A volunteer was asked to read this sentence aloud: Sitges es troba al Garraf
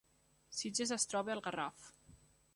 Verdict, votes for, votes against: accepted, 3, 0